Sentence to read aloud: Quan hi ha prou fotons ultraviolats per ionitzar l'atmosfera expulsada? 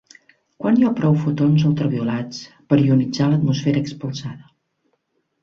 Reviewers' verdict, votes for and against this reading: rejected, 1, 2